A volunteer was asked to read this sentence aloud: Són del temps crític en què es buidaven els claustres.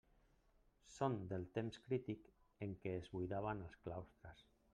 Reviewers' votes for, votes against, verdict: 2, 1, accepted